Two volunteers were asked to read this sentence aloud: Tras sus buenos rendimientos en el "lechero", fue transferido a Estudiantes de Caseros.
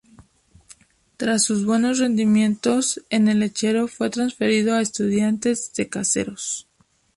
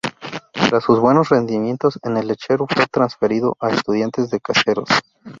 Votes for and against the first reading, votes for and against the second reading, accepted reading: 2, 0, 0, 2, first